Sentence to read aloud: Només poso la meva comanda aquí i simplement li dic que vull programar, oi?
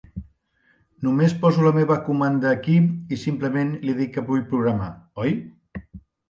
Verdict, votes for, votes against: accepted, 2, 0